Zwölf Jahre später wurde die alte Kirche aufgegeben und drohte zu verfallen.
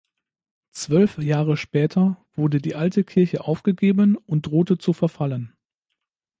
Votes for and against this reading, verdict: 2, 0, accepted